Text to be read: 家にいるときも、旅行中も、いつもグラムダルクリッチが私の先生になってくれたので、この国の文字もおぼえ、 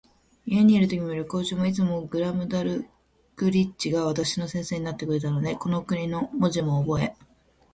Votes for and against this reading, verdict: 1, 2, rejected